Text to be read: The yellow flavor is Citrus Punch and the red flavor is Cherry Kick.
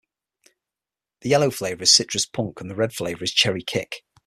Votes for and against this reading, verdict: 0, 6, rejected